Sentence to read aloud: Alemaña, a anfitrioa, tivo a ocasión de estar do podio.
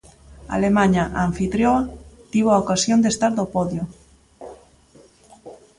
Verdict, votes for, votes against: accepted, 2, 0